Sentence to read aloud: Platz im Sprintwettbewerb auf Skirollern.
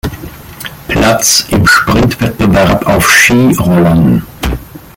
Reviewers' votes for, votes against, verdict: 1, 2, rejected